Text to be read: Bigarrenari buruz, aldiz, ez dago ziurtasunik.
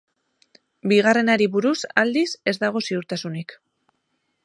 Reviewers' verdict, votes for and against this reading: rejected, 2, 2